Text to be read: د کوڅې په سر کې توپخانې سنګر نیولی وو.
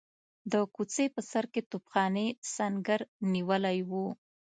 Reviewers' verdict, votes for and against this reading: accepted, 2, 0